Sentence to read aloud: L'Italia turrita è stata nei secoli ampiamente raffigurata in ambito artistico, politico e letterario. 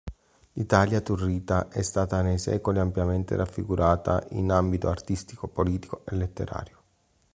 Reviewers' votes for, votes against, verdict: 2, 0, accepted